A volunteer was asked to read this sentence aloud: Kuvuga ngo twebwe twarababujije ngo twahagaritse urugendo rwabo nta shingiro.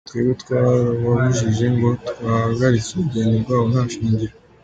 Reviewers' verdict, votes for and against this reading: accepted, 2, 1